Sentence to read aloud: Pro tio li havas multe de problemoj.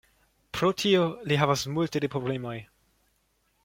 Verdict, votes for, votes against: accepted, 2, 0